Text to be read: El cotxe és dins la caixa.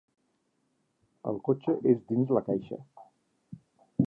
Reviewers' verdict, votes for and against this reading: accepted, 4, 0